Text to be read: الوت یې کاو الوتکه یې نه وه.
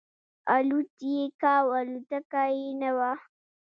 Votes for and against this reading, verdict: 1, 2, rejected